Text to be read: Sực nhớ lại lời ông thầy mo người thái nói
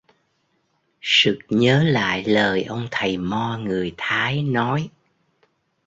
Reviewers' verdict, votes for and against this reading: accepted, 2, 0